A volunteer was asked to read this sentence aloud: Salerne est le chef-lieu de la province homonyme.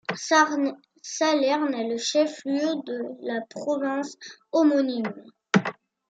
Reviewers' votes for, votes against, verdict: 0, 2, rejected